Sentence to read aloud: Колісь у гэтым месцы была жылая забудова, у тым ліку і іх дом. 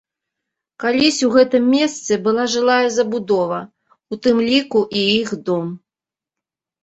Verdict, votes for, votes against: rejected, 0, 2